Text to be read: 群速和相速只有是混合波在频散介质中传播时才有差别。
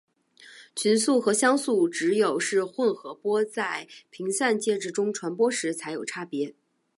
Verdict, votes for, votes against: accepted, 2, 0